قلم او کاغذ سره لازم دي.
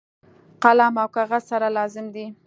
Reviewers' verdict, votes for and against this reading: accepted, 2, 0